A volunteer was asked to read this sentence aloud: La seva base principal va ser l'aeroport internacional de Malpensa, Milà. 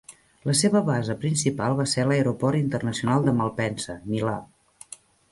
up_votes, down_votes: 3, 0